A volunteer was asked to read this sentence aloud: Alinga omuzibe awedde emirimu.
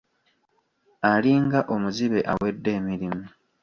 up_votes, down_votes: 1, 2